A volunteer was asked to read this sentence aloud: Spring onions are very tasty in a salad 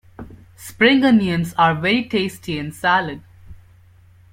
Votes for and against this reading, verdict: 0, 2, rejected